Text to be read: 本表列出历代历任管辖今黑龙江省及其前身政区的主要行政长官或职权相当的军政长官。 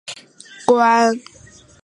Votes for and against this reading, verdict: 0, 2, rejected